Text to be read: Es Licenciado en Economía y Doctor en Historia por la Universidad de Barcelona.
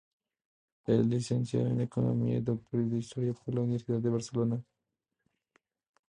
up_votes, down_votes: 2, 0